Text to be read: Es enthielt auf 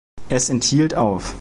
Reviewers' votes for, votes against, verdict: 2, 0, accepted